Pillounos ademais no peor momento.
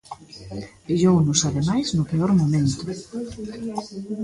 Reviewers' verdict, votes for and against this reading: accepted, 2, 0